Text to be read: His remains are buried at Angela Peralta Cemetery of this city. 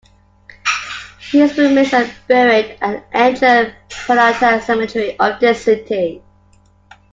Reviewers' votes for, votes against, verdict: 2, 0, accepted